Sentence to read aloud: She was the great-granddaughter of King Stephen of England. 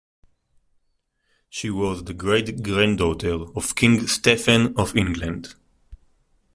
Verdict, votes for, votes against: accepted, 2, 0